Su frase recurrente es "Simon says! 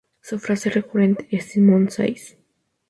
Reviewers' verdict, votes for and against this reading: rejected, 2, 2